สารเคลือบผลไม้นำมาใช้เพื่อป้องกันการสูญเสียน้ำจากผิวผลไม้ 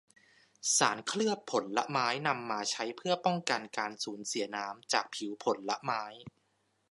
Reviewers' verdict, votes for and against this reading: accepted, 2, 0